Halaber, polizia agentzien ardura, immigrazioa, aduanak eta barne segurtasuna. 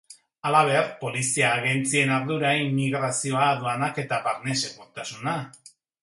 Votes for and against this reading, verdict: 3, 0, accepted